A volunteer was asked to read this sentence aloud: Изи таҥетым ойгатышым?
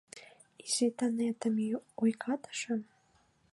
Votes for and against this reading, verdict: 0, 2, rejected